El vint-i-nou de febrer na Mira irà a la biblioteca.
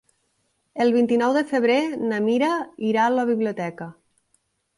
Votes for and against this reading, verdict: 3, 0, accepted